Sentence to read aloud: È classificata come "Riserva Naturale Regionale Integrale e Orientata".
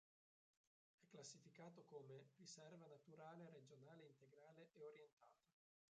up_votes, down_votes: 0, 3